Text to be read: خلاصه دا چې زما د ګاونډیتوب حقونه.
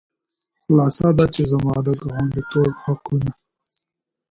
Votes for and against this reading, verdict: 2, 1, accepted